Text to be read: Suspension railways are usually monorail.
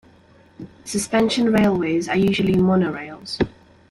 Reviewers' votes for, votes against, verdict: 0, 2, rejected